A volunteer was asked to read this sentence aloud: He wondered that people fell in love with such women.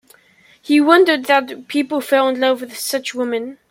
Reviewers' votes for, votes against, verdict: 2, 0, accepted